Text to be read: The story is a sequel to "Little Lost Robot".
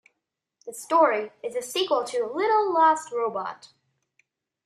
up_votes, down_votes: 2, 0